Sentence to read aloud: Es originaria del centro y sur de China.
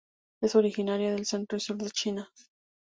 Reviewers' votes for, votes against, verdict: 4, 0, accepted